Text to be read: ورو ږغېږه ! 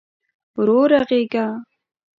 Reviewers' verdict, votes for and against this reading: accepted, 2, 1